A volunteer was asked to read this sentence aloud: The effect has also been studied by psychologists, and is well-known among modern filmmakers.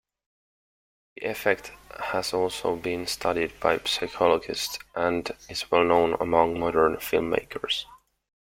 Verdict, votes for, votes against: accepted, 2, 0